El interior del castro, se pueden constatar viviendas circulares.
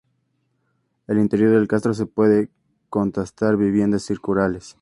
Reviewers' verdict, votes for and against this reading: accepted, 2, 0